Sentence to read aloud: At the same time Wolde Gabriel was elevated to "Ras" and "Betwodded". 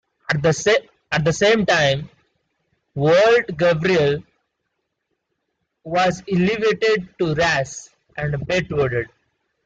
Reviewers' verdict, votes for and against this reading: rejected, 0, 2